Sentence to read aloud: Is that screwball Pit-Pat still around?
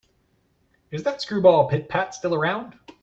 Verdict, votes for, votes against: accepted, 2, 0